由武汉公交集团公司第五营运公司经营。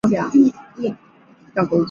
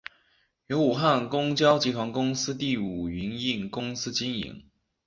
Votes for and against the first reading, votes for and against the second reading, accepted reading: 0, 3, 4, 0, second